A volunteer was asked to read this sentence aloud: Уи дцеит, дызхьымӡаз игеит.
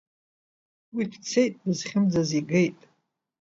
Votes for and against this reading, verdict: 2, 0, accepted